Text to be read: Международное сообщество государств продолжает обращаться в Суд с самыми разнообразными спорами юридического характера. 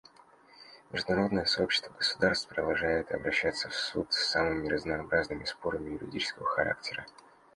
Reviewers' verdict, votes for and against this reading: accepted, 2, 0